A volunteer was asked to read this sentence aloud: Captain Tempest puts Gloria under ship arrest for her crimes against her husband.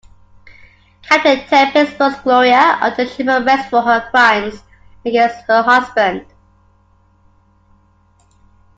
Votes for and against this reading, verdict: 2, 1, accepted